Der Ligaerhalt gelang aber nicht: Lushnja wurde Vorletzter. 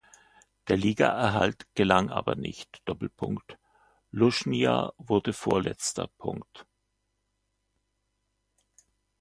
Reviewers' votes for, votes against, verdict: 2, 1, accepted